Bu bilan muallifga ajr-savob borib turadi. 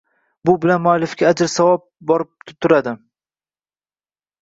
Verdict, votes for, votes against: rejected, 0, 2